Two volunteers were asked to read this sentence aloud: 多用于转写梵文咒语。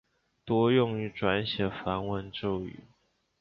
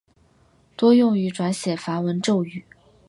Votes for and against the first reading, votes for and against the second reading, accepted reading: 2, 2, 6, 0, second